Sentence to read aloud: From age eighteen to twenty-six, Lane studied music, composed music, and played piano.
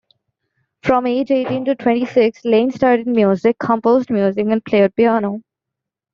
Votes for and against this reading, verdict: 2, 0, accepted